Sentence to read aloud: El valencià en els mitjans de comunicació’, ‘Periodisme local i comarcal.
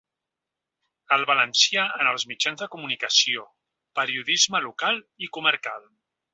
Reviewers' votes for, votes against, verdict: 2, 0, accepted